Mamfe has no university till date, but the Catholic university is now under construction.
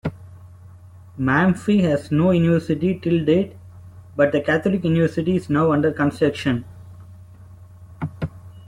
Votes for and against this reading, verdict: 1, 2, rejected